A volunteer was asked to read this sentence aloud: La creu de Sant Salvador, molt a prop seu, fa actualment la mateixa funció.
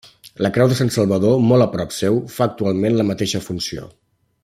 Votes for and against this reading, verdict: 3, 0, accepted